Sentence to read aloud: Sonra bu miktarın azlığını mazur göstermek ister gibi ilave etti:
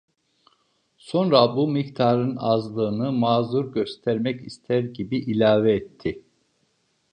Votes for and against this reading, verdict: 2, 0, accepted